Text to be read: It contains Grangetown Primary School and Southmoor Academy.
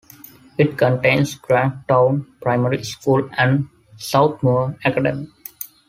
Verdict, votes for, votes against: accepted, 2, 1